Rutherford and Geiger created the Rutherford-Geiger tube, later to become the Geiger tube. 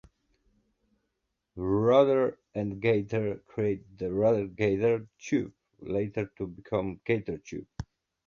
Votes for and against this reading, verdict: 0, 2, rejected